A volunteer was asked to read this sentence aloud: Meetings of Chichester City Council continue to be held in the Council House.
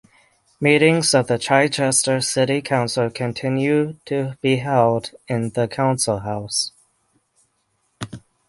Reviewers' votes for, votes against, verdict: 3, 3, rejected